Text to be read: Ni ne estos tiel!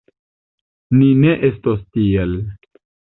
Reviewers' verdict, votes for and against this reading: accepted, 2, 0